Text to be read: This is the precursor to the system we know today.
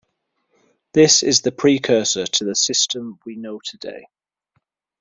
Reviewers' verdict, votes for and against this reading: accepted, 2, 0